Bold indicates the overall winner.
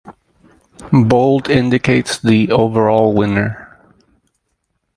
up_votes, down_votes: 2, 2